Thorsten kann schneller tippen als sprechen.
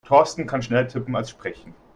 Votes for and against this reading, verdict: 1, 3, rejected